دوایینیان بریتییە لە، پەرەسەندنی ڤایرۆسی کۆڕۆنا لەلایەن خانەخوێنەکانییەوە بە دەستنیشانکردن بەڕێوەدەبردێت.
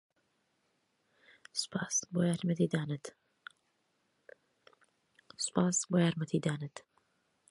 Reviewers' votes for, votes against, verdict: 0, 2, rejected